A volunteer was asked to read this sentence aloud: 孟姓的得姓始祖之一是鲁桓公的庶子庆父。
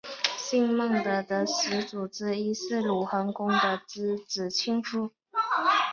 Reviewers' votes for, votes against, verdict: 3, 4, rejected